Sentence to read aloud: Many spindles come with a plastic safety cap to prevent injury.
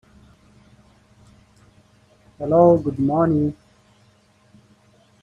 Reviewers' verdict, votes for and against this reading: rejected, 0, 2